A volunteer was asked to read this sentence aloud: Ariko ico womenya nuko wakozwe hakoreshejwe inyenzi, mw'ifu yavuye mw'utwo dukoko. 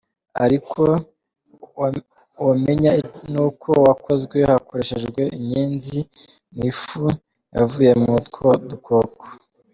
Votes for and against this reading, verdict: 0, 2, rejected